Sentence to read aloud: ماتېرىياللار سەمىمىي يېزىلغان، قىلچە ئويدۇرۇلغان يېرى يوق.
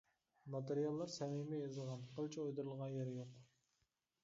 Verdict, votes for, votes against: rejected, 1, 2